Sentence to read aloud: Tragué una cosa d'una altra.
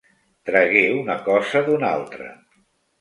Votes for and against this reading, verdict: 2, 0, accepted